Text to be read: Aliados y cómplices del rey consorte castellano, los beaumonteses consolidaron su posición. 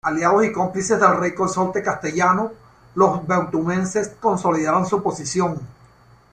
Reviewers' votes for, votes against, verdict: 1, 2, rejected